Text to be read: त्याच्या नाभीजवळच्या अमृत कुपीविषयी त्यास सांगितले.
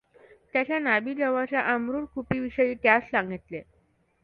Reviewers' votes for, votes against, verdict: 2, 0, accepted